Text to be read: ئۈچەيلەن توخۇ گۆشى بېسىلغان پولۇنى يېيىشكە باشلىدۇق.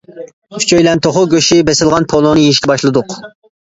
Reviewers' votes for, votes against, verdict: 2, 0, accepted